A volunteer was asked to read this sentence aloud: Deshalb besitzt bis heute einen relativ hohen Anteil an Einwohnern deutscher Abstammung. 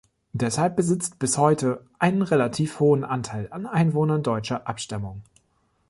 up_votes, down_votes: 2, 0